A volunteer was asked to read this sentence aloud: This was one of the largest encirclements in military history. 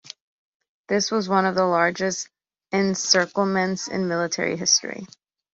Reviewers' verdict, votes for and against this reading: accepted, 2, 0